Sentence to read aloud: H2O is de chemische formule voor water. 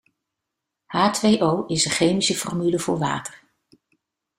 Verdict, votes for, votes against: rejected, 0, 2